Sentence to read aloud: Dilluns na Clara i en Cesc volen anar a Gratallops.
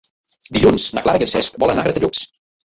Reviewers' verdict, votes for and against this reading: rejected, 0, 2